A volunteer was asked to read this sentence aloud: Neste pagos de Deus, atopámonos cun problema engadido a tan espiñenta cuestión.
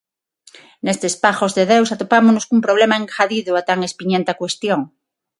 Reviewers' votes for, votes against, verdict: 3, 3, rejected